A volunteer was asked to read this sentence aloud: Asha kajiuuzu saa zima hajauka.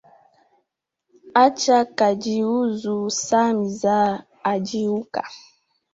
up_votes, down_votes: 1, 2